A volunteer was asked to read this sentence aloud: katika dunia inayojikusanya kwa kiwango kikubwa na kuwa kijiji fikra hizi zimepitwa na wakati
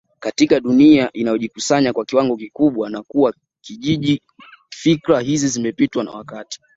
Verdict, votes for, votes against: accepted, 2, 0